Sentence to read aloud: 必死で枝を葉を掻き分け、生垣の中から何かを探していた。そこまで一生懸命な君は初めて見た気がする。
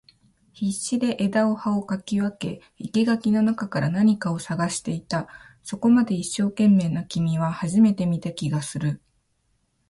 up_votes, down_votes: 2, 1